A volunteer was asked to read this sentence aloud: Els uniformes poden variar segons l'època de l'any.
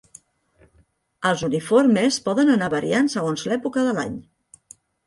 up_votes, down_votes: 0, 2